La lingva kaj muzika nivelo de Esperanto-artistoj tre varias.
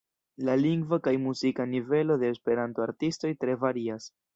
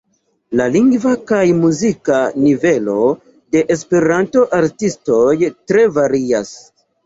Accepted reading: second